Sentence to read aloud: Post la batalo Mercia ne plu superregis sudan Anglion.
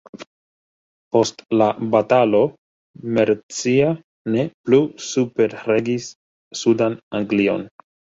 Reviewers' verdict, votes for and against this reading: rejected, 1, 2